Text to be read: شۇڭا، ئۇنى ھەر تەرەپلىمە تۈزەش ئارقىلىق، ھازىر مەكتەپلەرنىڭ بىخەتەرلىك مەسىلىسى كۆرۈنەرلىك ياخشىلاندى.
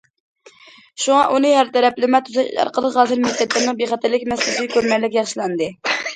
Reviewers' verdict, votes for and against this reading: rejected, 0, 2